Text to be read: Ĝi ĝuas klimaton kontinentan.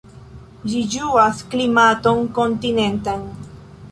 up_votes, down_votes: 1, 2